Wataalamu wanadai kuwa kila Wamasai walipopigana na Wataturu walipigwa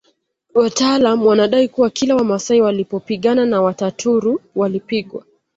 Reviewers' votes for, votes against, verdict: 2, 0, accepted